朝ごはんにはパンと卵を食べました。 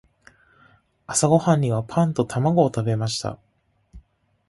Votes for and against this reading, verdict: 2, 0, accepted